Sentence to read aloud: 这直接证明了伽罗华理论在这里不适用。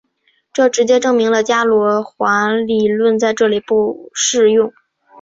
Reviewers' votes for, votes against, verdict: 8, 2, accepted